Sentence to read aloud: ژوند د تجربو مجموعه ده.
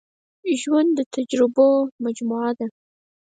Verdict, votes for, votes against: rejected, 2, 4